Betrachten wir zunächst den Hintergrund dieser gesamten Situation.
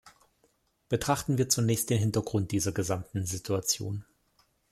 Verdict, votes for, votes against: accepted, 2, 0